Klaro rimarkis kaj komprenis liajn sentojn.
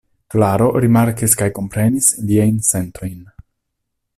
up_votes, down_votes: 2, 0